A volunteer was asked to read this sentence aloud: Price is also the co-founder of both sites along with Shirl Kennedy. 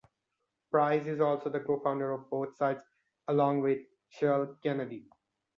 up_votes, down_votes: 2, 0